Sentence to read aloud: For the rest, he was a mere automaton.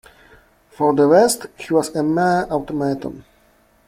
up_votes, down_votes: 1, 2